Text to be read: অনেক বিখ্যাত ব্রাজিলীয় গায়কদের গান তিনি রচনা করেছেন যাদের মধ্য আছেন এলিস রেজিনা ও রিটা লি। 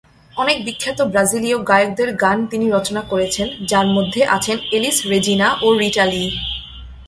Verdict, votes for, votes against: rejected, 1, 2